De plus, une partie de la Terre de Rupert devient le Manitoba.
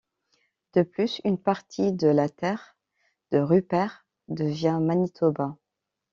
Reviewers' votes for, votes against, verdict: 1, 2, rejected